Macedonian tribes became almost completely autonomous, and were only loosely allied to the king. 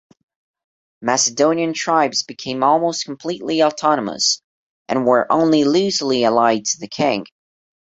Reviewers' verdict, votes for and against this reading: accepted, 2, 0